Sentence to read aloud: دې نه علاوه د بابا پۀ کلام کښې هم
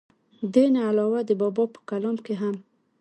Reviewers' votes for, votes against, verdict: 2, 1, accepted